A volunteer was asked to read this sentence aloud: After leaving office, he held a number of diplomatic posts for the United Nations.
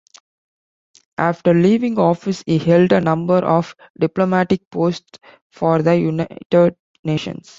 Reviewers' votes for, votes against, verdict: 2, 0, accepted